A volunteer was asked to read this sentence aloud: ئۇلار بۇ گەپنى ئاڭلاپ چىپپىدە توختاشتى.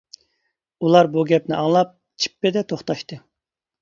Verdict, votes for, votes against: accepted, 2, 0